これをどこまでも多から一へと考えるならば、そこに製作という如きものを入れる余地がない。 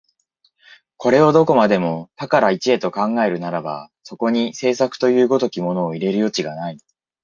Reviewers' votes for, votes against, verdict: 2, 0, accepted